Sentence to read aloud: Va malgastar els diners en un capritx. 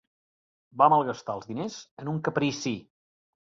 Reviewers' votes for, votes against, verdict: 1, 2, rejected